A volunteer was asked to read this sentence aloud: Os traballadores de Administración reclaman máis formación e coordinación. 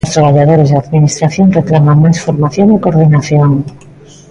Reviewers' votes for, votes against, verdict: 1, 2, rejected